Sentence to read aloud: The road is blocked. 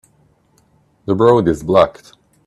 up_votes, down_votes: 1, 2